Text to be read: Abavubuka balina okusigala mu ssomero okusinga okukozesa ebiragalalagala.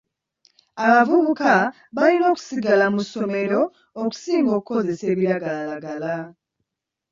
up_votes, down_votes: 1, 2